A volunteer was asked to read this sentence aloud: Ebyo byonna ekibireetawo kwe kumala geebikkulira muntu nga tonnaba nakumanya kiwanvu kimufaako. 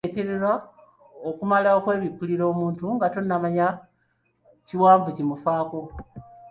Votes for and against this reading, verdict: 1, 2, rejected